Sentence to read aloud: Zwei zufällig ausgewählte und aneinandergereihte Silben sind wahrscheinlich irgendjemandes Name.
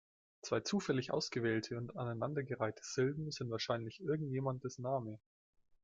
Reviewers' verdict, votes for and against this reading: accepted, 2, 1